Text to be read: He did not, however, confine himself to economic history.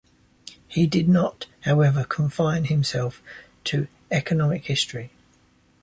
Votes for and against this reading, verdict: 2, 0, accepted